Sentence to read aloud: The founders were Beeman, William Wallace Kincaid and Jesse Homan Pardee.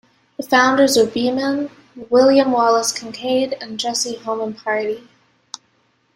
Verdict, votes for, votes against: accepted, 2, 0